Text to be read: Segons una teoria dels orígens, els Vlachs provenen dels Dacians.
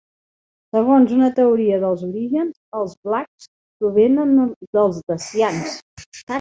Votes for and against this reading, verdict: 0, 2, rejected